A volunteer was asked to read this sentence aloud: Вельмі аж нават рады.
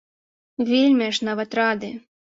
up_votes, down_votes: 2, 0